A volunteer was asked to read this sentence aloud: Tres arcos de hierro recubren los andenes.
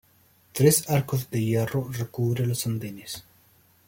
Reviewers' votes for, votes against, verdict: 2, 0, accepted